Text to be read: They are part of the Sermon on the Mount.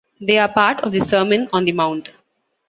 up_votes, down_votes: 2, 0